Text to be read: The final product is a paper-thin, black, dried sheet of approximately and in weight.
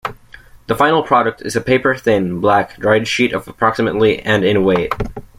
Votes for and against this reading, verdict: 2, 0, accepted